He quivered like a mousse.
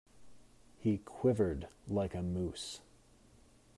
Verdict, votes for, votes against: accepted, 2, 0